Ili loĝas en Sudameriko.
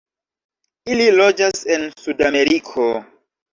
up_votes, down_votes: 1, 2